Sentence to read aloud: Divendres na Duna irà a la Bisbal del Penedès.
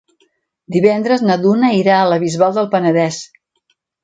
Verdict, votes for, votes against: accepted, 3, 0